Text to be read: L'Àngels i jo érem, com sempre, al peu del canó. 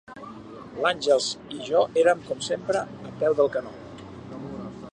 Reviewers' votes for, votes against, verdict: 0, 2, rejected